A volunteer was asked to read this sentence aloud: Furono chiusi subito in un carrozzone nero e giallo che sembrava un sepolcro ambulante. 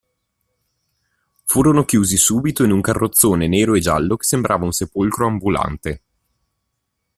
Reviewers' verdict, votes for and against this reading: accepted, 2, 0